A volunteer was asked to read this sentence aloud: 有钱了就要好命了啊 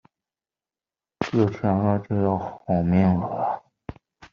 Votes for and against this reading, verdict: 1, 2, rejected